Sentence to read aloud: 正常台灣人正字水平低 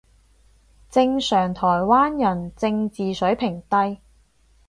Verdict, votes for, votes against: accepted, 4, 0